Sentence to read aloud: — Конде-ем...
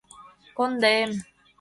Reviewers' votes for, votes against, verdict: 2, 0, accepted